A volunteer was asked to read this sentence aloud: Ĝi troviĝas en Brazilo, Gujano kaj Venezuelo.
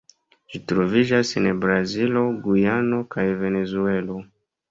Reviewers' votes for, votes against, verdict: 1, 2, rejected